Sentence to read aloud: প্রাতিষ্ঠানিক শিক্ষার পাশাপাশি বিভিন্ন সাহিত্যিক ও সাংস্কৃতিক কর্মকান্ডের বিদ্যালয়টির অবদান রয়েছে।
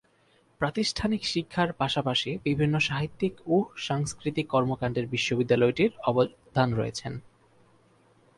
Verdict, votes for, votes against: accepted, 10, 8